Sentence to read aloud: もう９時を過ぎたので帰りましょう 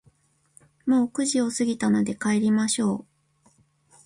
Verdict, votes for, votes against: rejected, 0, 2